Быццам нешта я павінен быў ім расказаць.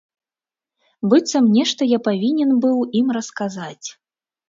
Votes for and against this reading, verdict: 3, 0, accepted